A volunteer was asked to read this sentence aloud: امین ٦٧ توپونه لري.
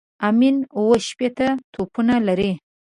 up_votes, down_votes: 0, 2